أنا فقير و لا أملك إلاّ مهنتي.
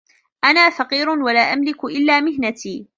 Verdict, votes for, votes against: accepted, 2, 1